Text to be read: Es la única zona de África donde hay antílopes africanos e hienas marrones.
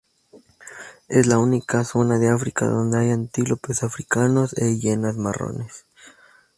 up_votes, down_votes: 2, 0